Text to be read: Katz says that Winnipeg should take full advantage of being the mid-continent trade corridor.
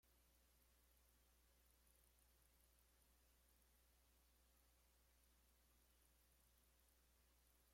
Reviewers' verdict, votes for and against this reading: rejected, 0, 2